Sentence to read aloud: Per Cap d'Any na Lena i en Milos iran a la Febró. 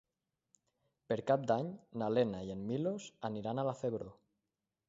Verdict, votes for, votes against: rejected, 1, 2